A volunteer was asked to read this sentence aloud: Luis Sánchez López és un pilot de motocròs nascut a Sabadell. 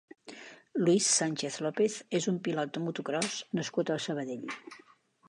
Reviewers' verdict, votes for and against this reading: accepted, 2, 0